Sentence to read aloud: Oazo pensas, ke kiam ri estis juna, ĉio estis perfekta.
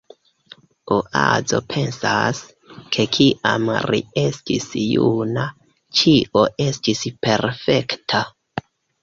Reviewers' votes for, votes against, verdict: 2, 3, rejected